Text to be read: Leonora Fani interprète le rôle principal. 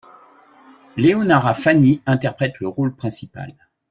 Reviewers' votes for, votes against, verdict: 0, 2, rejected